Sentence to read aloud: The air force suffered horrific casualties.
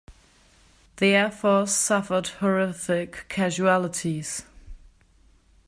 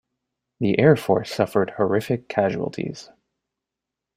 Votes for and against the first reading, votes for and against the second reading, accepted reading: 0, 2, 2, 0, second